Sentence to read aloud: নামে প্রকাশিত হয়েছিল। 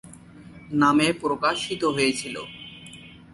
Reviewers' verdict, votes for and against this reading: accepted, 2, 0